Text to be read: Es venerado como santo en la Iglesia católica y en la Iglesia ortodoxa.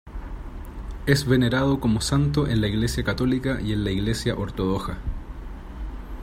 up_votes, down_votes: 1, 2